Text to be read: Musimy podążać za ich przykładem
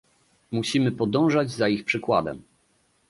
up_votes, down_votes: 2, 0